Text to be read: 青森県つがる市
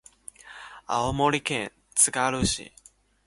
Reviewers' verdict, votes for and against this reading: accepted, 3, 0